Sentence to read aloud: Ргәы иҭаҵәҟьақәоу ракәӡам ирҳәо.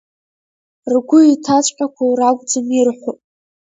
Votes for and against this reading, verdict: 1, 2, rejected